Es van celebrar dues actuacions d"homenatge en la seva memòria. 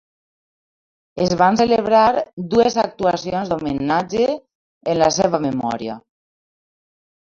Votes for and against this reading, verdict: 1, 2, rejected